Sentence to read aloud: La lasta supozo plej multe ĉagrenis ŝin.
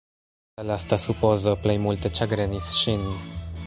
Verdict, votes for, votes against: accepted, 2, 0